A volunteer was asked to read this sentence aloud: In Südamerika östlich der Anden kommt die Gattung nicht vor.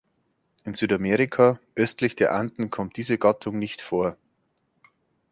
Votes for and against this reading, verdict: 0, 2, rejected